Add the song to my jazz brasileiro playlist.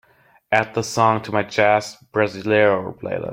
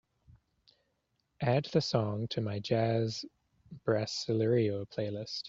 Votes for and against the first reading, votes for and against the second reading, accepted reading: 0, 2, 3, 0, second